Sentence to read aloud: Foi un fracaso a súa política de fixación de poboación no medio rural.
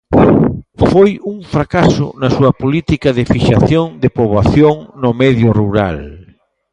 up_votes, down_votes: 0, 2